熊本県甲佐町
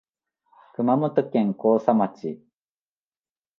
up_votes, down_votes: 0, 2